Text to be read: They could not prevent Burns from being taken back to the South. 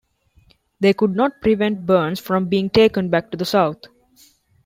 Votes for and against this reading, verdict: 2, 0, accepted